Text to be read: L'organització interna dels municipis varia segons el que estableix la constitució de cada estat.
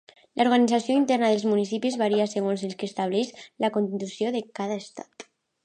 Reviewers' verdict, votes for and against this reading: accepted, 2, 0